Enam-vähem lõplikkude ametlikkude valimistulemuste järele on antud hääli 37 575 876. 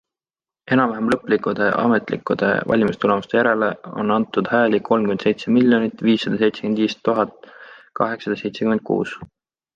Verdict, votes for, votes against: rejected, 0, 2